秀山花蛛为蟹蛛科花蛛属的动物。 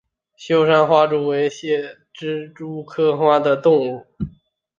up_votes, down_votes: 0, 2